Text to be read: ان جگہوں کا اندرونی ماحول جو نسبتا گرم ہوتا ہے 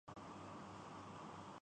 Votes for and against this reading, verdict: 6, 7, rejected